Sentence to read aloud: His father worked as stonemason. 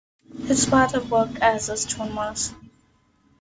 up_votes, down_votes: 2, 0